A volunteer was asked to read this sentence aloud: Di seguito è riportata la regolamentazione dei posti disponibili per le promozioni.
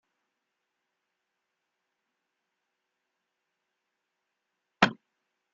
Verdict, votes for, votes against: rejected, 0, 3